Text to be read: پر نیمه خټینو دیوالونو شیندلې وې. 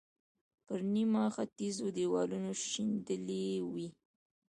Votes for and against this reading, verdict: 2, 1, accepted